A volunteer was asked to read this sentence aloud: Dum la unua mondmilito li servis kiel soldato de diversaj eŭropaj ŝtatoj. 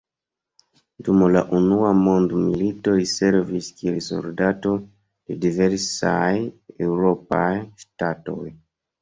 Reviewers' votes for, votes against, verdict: 1, 2, rejected